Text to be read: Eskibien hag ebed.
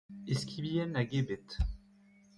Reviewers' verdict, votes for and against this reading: rejected, 1, 2